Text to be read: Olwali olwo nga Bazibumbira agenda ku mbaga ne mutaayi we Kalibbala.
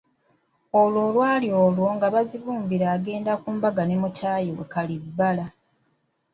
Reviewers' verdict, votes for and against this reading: rejected, 1, 2